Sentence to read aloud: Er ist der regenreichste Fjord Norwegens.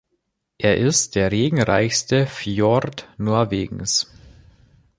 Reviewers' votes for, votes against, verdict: 2, 0, accepted